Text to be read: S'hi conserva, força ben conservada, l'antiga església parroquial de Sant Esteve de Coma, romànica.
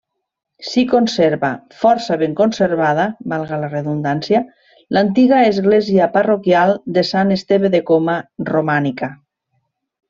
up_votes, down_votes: 1, 2